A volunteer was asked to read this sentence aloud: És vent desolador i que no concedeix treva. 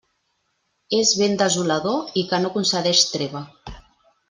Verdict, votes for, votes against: accepted, 2, 0